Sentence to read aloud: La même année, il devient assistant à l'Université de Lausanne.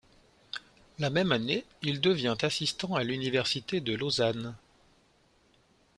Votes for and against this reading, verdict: 2, 0, accepted